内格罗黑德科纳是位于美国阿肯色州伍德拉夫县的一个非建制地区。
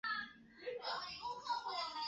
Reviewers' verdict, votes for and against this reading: rejected, 0, 3